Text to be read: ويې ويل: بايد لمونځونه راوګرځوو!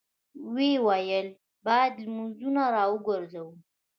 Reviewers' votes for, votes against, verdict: 2, 0, accepted